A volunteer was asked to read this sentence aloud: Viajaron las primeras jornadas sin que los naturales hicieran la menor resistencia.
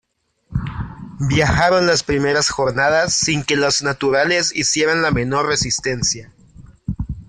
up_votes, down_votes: 2, 0